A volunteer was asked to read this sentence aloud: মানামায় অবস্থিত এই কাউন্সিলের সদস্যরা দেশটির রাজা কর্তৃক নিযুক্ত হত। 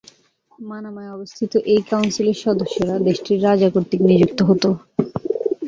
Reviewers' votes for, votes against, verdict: 2, 0, accepted